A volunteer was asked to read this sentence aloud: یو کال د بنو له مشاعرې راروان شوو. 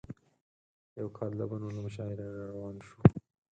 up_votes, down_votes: 0, 4